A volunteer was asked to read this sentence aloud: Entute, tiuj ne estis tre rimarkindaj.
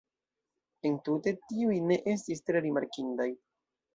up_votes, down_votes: 2, 0